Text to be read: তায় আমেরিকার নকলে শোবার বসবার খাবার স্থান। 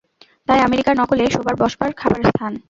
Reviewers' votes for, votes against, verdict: 2, 0, accepted